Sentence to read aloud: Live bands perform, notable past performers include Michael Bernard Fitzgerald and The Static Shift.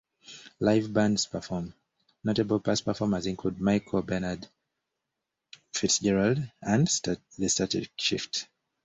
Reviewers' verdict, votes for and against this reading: rejected, 1, 2